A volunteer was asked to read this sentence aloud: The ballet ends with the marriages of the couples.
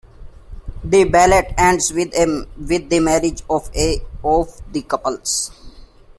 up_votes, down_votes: 1, 2